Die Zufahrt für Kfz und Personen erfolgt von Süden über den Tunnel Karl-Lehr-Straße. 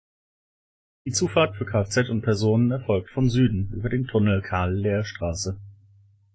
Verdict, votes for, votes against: accepted, 2, 0